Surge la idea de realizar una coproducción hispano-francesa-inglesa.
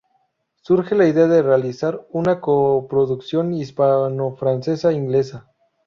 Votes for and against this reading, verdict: 0, 4, rejected